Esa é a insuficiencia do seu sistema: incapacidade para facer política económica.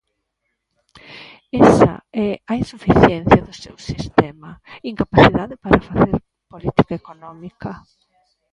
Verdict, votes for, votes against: rejected, 1, 2